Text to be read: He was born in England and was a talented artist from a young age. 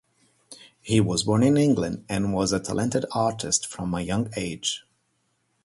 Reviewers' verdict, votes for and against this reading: accepted, 4, 0